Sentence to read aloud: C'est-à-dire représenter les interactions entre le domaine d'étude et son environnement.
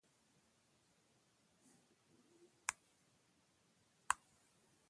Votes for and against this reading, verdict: 0, 2, rejected